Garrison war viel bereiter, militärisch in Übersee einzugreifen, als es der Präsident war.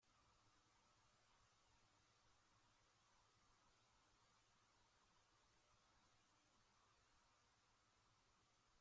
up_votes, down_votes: 0, 2